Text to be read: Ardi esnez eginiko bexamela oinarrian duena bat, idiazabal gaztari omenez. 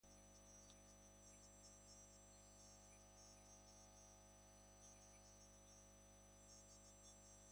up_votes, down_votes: 0, 3